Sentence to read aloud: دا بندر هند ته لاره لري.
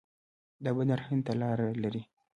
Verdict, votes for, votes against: rejected, 1, 2